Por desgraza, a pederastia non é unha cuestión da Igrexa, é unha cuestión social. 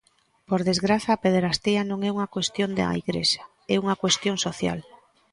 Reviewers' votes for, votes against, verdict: 0, 2, rejected